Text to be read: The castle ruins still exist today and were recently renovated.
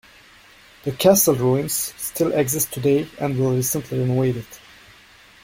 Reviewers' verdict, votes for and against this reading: accepted, 2, 0